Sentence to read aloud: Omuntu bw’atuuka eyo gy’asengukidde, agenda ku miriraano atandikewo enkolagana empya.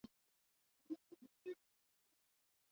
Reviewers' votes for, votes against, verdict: 0, 2, rejected